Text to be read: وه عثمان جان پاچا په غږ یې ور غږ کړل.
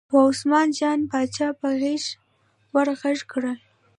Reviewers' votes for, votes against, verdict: 2, 0, accepted